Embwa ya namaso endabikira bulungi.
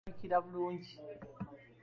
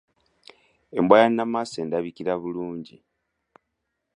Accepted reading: second